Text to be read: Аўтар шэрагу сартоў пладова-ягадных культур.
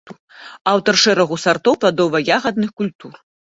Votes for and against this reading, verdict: 2, 0, accepted